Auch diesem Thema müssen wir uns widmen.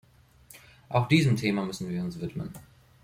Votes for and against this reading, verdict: 2, 0, accepted